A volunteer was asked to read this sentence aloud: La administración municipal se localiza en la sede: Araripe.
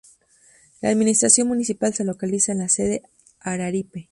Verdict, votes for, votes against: accepted, 2, 0